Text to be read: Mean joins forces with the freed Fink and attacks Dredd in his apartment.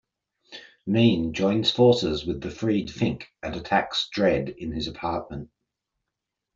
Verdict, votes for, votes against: accepted, 2, 0